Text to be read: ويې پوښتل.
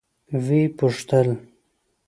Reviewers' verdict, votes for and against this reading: accepted, 2, 0